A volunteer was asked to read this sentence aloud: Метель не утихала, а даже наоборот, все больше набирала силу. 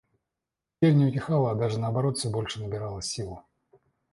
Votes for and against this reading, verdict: 1, 2, rejected